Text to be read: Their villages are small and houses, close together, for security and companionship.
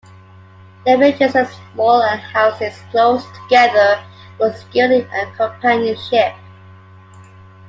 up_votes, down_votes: 2, 1